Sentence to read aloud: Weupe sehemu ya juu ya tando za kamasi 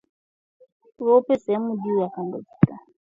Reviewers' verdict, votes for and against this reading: rejected, 0, 2